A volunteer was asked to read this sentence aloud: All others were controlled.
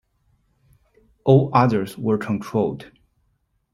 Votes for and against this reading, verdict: 2, 0, accepted